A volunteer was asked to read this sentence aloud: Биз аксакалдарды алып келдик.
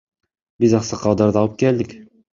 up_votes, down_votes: 1, 2